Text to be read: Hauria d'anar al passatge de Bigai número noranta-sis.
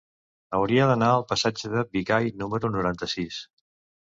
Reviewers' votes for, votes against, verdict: 3, 0, accepted